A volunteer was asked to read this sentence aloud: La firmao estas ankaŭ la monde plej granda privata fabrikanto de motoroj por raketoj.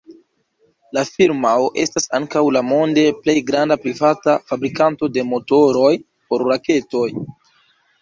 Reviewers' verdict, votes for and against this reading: accepted, 2, 1